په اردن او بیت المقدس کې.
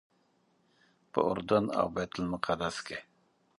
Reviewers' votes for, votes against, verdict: 2, 0, accepted